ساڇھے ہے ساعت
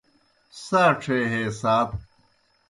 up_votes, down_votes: 2, 0